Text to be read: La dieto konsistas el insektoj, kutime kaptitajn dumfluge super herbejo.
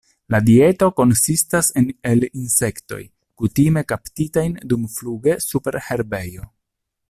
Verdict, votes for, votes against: rejected, 0, 2